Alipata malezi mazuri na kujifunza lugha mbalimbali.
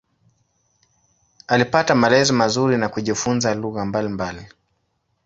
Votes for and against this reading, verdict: 2, 0, accepted